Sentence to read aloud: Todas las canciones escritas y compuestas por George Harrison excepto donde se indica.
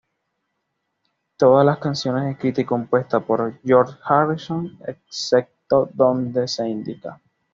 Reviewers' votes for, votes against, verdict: 2, 0, accepted